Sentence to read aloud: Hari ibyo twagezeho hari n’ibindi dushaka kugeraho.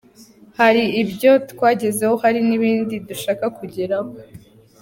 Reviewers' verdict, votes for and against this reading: accepted, 2, 0